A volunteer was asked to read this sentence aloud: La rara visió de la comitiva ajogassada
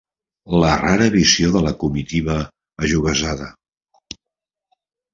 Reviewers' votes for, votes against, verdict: 0, 2, rejected